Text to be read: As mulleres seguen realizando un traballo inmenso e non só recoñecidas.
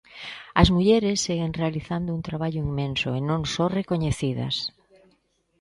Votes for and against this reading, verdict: 2, 0, accepted